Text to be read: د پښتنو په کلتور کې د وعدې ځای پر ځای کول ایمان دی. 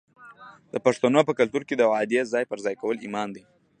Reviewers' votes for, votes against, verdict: 2, 0, accepted